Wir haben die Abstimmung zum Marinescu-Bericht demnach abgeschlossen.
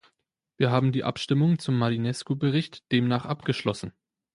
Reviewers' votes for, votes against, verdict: 2, 0, accepted